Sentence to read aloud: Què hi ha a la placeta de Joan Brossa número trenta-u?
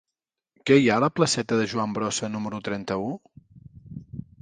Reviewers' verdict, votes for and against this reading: accepted, 2, 0